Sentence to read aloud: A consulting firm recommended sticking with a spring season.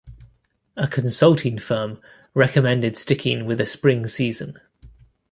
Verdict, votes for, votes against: accepted, 2, 1